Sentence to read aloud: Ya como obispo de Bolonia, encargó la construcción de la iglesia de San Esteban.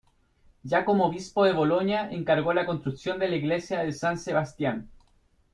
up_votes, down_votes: 0, 2